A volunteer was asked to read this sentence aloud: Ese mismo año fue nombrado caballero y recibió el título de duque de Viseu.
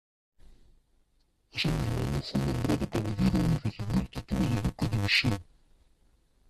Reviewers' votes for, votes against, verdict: 0, 2, rejected